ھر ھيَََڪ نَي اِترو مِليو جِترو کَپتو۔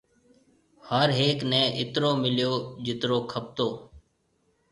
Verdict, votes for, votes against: accepted, 2, 0